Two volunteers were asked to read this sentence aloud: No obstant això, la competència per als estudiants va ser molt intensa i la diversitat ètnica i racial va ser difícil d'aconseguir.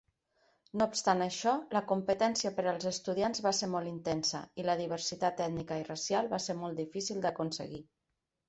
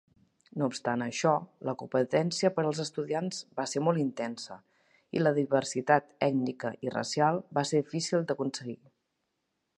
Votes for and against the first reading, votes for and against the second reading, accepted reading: 1, 2, 2, 0, second